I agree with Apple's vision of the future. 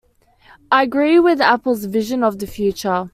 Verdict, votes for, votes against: accepted, 2, 0